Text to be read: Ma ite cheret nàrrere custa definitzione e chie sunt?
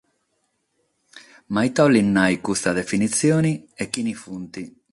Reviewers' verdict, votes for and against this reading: rejected, 0, 6